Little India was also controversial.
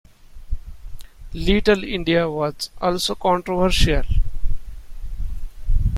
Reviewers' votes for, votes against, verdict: 2, 0, accepted